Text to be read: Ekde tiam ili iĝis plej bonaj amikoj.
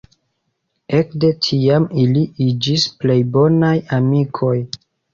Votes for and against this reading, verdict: 1, 2, rejected